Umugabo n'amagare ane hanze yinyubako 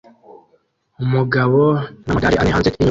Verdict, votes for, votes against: rejected, 0, 2